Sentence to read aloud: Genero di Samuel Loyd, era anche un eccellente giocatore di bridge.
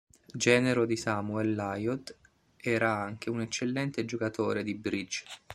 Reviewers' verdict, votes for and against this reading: rejected, 0, 2